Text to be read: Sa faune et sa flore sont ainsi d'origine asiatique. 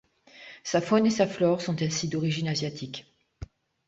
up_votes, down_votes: 2, 0